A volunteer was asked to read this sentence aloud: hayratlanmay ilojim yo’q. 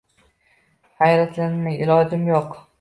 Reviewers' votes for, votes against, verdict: 0, 2, rejected